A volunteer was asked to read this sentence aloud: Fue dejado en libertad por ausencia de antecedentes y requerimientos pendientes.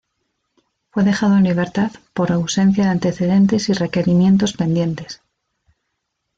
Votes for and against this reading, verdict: 2, 0, accepted